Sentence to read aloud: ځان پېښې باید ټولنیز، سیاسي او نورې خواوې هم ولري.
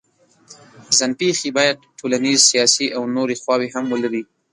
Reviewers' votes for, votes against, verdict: 2, 1, accepted